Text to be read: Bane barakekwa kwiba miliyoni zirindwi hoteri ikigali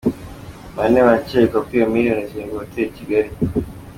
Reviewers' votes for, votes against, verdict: 2, 1, accepted